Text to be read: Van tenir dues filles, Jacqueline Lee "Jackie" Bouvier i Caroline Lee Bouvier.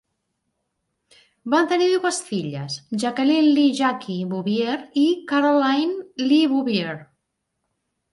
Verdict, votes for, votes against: rejected, 1, 2